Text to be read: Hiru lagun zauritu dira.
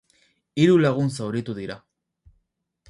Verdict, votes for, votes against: accepted, 6, 0